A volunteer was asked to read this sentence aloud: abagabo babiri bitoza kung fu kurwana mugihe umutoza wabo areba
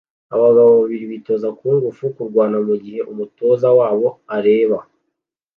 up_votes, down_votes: 2, 0